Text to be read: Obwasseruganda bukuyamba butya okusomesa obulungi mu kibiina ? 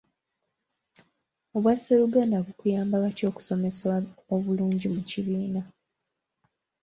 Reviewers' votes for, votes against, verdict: 2, 1, accepted